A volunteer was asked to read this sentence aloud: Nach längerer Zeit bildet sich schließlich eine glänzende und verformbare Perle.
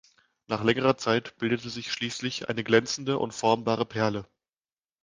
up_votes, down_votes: 0, 2